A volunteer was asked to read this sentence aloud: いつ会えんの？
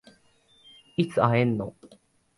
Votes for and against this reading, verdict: 2, 0, accepted